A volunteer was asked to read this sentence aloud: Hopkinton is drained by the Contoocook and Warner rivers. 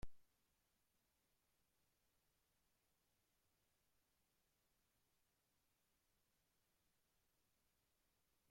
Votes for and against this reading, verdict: 0, 2, rejected